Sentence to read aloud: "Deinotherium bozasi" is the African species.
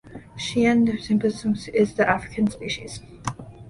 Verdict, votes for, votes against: rejected, 1, 2